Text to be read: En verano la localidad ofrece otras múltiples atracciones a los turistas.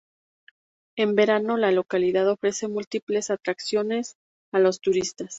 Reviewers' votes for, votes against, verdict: 2, 0, accepted